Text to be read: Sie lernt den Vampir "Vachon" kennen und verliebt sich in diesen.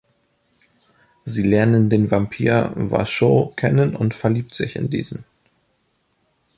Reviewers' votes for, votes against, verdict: 0, 2, rejected